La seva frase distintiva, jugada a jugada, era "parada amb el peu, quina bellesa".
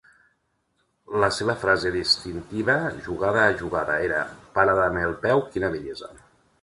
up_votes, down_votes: 2, 0